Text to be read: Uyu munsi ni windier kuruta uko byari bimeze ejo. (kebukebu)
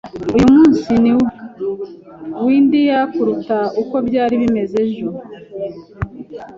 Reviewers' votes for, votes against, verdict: 1, 2, rejected